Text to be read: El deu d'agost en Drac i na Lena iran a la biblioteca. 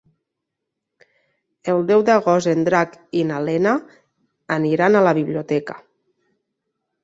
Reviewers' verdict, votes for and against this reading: rejected, 0, 2